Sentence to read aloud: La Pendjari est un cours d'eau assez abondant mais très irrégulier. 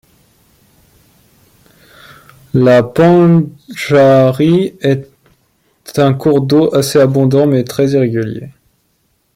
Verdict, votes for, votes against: rejected, 0, 2